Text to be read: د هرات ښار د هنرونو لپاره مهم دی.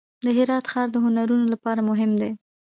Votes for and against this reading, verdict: 1, 2, rejected